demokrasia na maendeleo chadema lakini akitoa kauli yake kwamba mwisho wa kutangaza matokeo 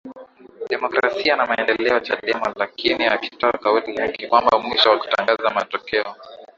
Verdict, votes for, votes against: accepted, 3, 0